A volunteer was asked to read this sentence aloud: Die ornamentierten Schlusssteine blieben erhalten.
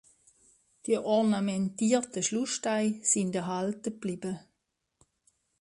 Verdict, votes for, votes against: rejected, 1, 2